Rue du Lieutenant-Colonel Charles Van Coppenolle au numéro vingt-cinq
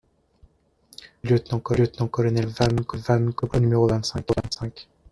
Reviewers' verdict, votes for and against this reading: rejected, 0, 2